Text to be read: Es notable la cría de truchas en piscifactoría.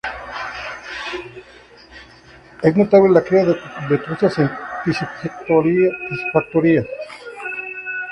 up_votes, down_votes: 0, 2